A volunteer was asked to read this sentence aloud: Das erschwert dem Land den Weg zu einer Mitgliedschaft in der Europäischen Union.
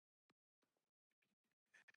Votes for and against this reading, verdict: 0, 2, rejected